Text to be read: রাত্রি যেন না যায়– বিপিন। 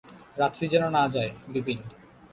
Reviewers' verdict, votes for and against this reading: rejected, 0, 2